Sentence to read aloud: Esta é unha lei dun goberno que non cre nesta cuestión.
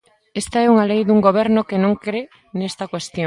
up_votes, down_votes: 1, 2